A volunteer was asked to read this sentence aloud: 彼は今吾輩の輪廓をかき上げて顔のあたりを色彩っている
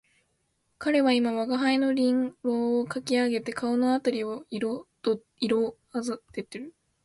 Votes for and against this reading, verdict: 1, 2, rejected